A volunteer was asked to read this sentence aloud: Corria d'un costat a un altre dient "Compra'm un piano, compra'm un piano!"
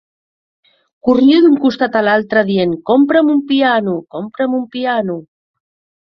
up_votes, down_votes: 1, 2